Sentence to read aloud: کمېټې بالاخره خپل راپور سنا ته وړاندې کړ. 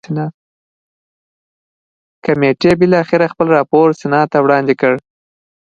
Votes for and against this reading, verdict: 0, 2, rejected